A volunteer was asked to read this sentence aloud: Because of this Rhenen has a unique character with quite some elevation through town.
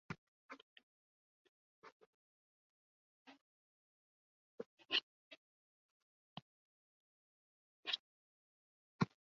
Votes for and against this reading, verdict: 0, 2, rejected